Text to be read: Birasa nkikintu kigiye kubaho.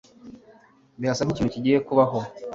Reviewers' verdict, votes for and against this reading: accepted, 2, 0